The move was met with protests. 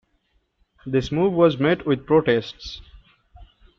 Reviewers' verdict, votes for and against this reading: rejected, 0, 2